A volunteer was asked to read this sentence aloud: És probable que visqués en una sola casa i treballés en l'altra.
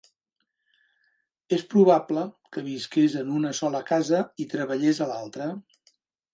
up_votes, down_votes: 0, 2